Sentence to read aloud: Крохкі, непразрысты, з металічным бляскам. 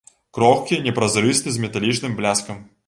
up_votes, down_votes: 2, 0